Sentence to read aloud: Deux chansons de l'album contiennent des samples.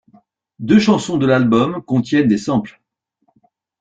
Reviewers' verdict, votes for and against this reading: rejected, 0, 2